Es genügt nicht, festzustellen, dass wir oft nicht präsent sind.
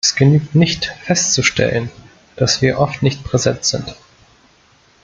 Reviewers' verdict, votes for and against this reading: accepted, 2, 0